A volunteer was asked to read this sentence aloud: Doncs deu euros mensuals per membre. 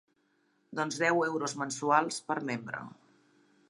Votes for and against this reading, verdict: 3, 0, accepted